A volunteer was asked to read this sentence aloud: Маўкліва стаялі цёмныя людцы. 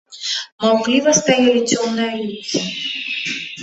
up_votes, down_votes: 1, 2